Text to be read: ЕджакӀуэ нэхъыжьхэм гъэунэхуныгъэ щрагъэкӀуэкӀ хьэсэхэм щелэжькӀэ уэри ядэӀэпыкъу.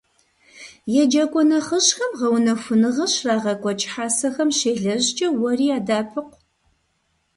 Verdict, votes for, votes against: accepted, 2, 0